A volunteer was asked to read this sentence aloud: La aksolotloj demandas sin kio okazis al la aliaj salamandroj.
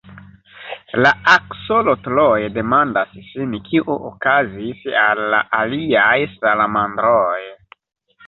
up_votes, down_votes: 1, 2